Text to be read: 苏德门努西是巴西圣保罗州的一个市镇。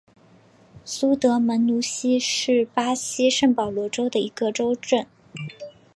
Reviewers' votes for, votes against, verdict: 0, 2, rejected